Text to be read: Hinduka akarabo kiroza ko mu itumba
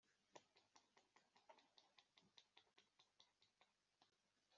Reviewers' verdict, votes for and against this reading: rejected, 0, 2